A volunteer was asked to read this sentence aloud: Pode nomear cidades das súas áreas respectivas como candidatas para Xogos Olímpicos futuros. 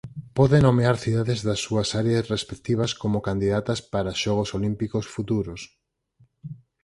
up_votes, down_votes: 4, 2